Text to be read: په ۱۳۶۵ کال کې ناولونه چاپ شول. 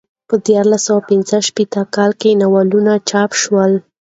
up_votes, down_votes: 0, 2